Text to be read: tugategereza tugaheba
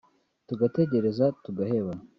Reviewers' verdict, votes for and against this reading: accepted, 2, 1